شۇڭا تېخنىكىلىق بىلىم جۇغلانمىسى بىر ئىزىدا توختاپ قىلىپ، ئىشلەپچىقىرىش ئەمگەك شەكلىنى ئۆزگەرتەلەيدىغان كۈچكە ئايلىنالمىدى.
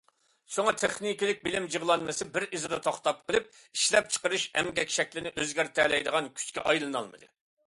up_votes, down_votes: 2, 0